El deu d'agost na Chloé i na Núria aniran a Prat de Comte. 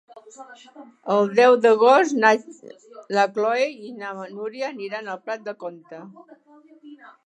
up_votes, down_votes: 0, 2